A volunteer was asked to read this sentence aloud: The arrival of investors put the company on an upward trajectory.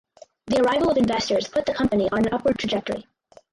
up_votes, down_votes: 0, 2